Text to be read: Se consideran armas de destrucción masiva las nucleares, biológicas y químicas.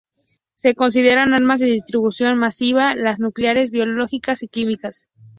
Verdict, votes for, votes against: rejected, 0, 2